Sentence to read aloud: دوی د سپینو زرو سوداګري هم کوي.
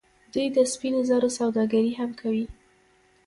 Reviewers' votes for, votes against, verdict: 1, 2, rejected